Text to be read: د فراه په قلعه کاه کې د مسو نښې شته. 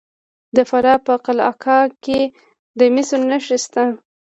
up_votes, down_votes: 2, 1